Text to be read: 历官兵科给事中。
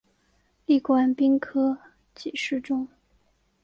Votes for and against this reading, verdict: 1, 2, rejected